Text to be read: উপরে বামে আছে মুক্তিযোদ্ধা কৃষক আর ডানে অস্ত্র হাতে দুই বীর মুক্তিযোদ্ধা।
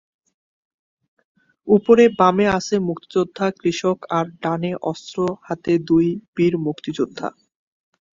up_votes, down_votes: 3, 0